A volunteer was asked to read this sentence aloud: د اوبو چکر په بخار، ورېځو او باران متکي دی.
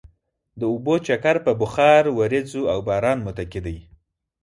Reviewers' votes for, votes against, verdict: 4, 0, accepted